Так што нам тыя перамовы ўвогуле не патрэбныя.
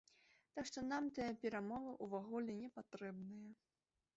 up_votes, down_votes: 1, 2